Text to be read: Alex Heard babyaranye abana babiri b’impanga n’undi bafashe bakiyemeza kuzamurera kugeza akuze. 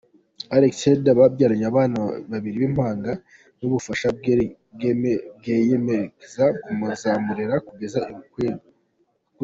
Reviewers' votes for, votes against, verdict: 2, 1, accepted